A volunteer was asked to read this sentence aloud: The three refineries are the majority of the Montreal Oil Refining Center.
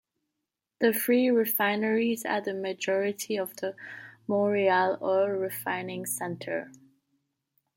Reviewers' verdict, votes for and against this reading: rejected, 1, 2